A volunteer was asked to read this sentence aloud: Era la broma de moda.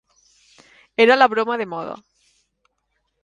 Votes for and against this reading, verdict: 2, 0, accepted